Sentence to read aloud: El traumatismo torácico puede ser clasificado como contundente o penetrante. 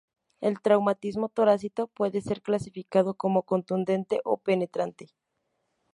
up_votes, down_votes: 2, 2